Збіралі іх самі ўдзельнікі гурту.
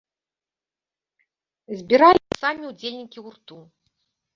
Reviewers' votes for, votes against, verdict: 1, 2, rejected